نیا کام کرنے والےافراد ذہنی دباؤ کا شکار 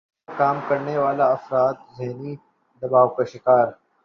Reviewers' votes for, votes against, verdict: 1, 2, rejected